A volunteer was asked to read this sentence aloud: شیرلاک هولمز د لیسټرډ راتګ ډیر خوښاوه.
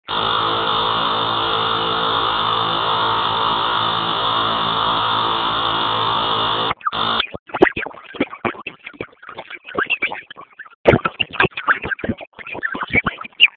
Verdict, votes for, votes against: rejected, 1, 2